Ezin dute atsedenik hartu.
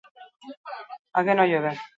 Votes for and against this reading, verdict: 0, 6, rejected